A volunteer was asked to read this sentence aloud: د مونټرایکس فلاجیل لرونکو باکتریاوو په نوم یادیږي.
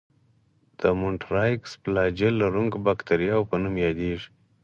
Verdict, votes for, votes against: accepted, 4, 0